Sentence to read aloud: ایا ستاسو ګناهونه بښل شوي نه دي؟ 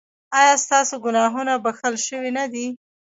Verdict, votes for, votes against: rejected, 0, 2